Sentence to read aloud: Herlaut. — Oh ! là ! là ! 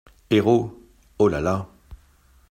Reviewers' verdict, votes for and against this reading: rejected, 0, 2